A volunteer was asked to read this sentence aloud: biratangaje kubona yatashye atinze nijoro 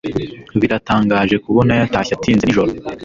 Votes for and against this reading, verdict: 1, 2, rejected